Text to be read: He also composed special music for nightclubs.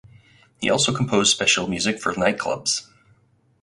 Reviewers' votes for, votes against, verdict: 4, 0, accepted